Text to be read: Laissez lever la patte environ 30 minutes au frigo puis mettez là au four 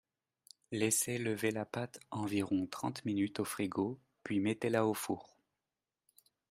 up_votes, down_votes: 0, 2